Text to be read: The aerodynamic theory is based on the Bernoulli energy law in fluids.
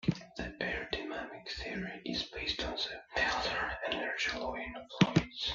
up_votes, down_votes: 1, 2